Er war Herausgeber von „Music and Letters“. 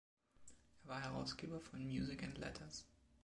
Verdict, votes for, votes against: accepted, 2, 0